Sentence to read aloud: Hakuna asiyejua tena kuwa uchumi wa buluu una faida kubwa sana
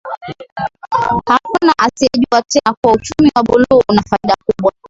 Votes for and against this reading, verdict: 2, 0, accepted